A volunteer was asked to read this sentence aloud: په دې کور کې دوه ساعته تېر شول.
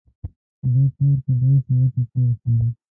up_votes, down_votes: 0, 2